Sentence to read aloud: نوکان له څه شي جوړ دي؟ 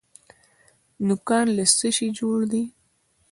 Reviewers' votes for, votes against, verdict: 2, 0, accepted